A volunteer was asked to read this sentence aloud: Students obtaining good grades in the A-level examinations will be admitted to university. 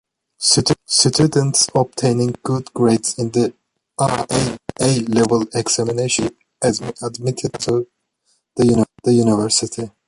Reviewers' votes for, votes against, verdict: 0, 2, rejected